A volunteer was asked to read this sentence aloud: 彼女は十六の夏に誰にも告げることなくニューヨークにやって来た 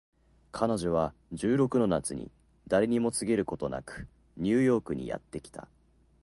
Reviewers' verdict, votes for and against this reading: accepted, 4, 0